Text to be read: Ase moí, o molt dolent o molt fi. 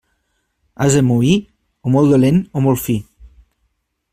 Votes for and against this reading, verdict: 2, 0, accepted